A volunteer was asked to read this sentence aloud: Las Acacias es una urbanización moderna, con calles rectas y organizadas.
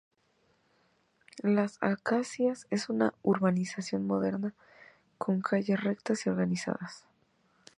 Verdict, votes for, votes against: accepted, 3, 0